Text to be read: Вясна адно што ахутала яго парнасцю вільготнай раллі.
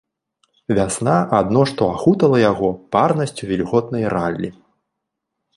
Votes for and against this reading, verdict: 1, 2, rejected